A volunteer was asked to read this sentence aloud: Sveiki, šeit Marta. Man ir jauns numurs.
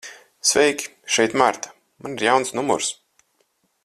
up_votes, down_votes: 4, 0